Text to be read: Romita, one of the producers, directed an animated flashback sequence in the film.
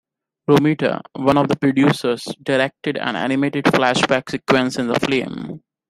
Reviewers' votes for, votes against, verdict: 2, 1, accepted